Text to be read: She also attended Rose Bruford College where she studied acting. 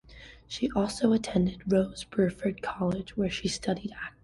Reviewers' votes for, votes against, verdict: 1, 2, rejected